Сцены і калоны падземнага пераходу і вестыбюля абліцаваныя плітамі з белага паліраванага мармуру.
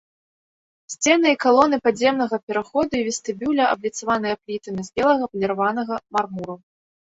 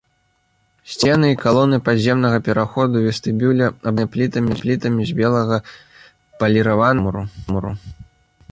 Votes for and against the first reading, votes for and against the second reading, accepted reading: 2, 0, 0, 2, first